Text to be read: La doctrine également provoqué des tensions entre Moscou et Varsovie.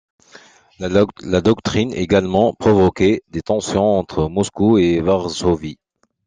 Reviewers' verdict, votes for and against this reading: rejected, 1, 2